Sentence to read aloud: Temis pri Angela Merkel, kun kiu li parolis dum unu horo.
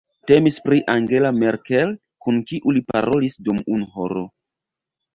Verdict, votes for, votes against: rejected, 0, 2